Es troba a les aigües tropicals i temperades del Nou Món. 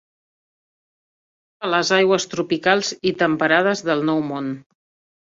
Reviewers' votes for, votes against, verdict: 0, 2, rejected